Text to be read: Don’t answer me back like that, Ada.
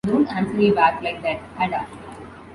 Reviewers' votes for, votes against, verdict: 2, 0, accepted